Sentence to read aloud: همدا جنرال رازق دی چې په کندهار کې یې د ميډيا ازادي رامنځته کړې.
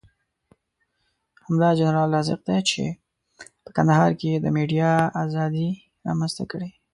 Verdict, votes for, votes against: rejected, 1, 2